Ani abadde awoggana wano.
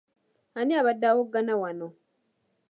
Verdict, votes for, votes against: accepted, 2, 0